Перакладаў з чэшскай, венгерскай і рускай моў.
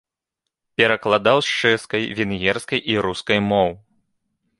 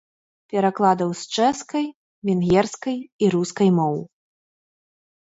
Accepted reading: first